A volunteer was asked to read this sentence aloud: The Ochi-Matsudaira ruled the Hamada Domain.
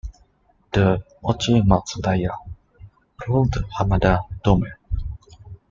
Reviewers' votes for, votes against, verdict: 0, 2, rejected